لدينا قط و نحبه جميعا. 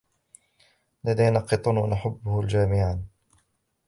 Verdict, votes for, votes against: rejected, 0, 2